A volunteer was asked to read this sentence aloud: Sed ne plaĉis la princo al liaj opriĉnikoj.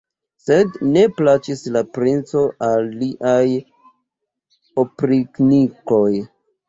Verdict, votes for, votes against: accepted, 2, 0